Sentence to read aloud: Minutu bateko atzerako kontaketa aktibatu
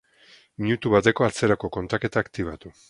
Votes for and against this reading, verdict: 2, 0, accepted